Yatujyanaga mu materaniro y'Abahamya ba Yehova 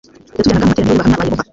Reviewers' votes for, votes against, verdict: 1, 2, rejected